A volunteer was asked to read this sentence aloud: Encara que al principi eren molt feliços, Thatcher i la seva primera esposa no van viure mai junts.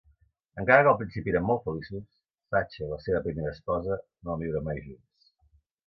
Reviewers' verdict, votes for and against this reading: rejected, 0, 2